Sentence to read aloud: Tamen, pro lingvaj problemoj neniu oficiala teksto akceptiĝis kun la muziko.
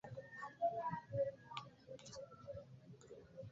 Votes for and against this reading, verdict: 1, 2, rejected